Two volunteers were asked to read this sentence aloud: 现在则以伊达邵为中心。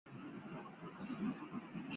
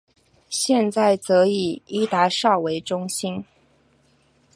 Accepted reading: second